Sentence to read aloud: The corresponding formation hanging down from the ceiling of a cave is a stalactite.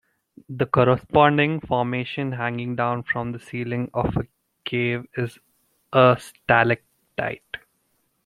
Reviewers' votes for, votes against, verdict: 2, 0, accepted